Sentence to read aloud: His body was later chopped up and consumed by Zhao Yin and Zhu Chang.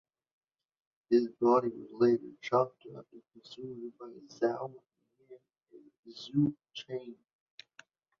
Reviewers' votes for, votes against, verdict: 1, 2, rejected